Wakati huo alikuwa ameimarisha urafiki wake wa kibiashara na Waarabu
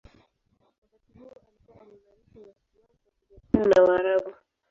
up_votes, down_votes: 0, 2